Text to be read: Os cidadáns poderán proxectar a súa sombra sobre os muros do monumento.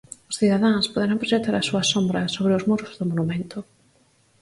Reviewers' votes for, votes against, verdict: 4, 0, accepted